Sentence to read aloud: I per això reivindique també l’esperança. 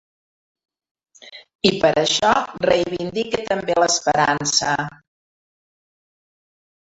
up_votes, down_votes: 2, 0